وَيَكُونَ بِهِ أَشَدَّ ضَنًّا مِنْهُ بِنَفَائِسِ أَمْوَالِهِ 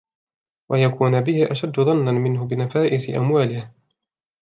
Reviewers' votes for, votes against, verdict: 2, 0, accepted